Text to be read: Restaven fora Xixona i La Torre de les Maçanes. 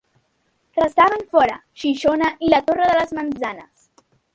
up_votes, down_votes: 1, 2